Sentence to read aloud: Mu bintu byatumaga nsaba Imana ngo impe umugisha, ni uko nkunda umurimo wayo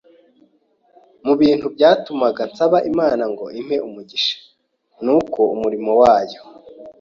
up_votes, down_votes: 1, 2